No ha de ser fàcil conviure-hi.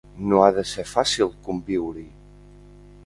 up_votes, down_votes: 2, 0